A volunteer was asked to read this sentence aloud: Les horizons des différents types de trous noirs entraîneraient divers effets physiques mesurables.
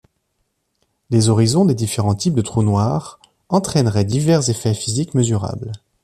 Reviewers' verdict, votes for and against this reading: accepted, 2, 0